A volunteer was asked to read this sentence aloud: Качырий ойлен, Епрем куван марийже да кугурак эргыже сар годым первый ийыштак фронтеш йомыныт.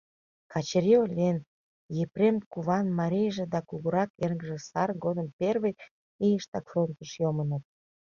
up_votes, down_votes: 0, 2